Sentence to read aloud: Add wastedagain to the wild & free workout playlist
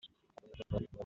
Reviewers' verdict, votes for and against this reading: rejected, 0, 2